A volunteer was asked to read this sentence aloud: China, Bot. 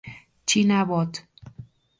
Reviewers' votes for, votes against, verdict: 2, 0, accepted